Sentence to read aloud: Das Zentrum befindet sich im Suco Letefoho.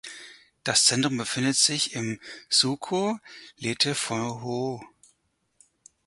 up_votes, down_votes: 2, 4